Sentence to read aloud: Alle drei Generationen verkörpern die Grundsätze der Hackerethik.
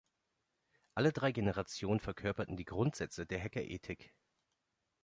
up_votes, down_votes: 1, 2